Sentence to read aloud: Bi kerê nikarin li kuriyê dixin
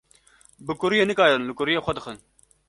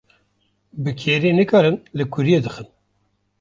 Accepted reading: second